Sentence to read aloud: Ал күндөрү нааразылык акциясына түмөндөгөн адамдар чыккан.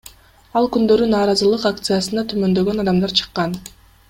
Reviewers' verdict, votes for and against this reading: accepted, 2, 0